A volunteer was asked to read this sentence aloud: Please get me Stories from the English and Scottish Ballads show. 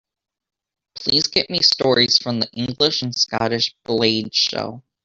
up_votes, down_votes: 0, 2